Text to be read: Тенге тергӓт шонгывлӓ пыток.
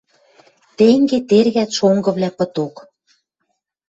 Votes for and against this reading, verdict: 2, 0, accepted